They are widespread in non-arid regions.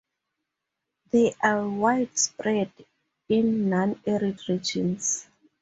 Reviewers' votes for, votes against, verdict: 2, 0, accepted